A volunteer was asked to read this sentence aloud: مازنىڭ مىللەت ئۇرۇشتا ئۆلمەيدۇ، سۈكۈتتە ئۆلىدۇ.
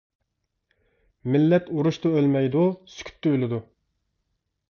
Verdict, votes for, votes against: rejected, 0, 2